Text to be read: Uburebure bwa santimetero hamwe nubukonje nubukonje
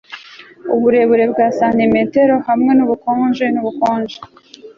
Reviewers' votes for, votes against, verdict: 2, 0, accepted